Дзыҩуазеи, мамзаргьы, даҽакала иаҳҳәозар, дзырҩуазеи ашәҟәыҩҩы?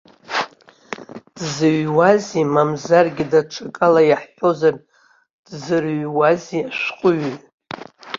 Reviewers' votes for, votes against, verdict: 0, 2, rejected